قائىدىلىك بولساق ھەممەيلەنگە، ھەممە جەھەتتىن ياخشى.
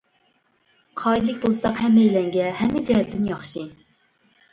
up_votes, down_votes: 2, 0